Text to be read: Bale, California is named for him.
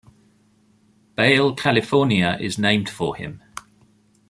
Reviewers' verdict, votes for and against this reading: accepted, 2, 0